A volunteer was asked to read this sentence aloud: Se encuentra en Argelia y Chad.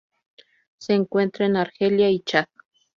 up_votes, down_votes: 2, 2